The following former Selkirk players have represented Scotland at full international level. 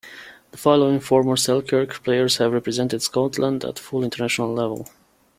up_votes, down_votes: 0, 2